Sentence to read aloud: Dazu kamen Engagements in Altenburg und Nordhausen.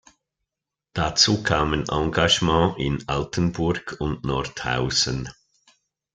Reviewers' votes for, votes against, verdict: 0, 2, rejected